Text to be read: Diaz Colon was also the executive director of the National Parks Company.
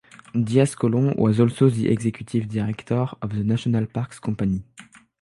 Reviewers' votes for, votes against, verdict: 3, 0, accepted